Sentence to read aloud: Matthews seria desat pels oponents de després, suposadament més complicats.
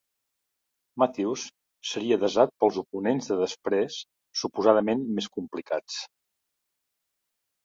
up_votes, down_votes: 2, 1